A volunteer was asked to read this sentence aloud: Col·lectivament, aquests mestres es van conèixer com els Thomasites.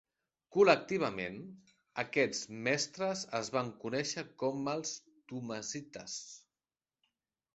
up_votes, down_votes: 2, 0